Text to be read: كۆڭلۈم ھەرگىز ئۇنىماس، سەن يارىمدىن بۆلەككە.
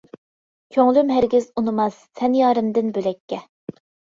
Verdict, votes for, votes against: accepted, 2, 0